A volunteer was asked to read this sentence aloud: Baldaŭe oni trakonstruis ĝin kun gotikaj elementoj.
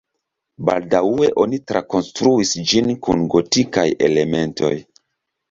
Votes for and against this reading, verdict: 3, 0, accepted